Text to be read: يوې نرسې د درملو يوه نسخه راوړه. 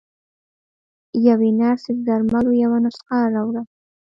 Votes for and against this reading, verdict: 0, 2, rejected